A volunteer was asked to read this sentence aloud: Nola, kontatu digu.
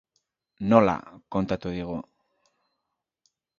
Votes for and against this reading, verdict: 5, 0, accepted